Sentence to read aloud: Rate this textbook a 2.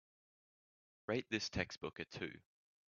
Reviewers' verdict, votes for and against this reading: rejected, 0, 2